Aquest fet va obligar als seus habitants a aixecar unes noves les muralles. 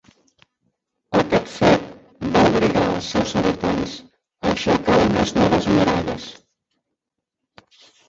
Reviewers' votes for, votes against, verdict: 0, 2, rejected